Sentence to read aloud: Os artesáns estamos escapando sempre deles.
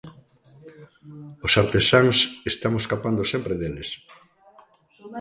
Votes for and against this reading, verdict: 0, 2, rejected